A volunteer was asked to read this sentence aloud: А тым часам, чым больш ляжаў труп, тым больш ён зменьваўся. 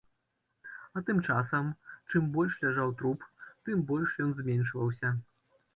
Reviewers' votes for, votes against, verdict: 0, 2, rejected